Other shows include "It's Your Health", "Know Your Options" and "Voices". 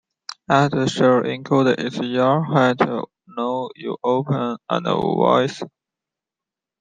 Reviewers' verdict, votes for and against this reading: rejected, 0, 3